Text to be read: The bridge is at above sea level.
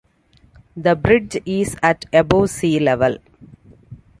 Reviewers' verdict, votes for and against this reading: accepted, 2, 1